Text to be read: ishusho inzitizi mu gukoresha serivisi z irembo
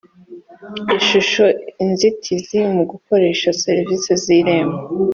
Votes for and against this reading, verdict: 4, 0, accepted